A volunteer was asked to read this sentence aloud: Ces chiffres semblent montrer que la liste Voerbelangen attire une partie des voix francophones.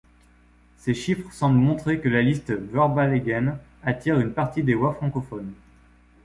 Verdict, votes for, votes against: rejected, 1, 2